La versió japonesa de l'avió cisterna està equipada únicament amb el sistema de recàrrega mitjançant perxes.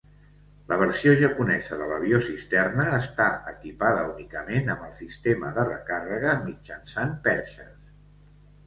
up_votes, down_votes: 2, 0